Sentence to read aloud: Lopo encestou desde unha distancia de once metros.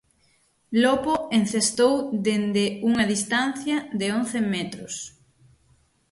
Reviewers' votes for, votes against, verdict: 0, 6, rejected